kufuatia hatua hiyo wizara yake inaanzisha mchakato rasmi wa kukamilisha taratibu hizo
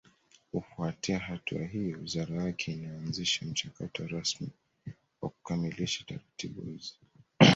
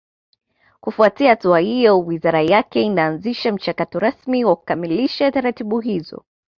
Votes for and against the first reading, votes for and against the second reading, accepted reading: 1, 2, 2, 1, second